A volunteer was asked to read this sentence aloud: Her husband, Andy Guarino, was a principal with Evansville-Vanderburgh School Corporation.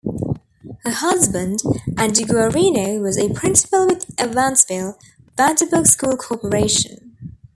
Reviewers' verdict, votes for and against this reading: rejected, 1, 2